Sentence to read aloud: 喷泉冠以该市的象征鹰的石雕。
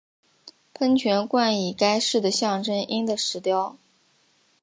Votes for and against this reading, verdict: 5, 0, accepted